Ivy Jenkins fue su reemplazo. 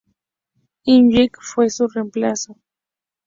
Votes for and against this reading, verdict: 0, 2, rejected